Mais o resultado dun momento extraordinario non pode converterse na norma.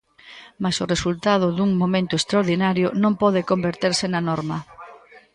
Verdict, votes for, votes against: rejected, 1, 2